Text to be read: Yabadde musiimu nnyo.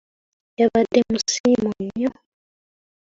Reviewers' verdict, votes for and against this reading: rejected, 1, 2